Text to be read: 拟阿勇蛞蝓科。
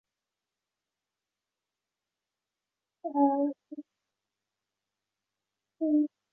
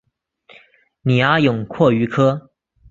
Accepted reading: second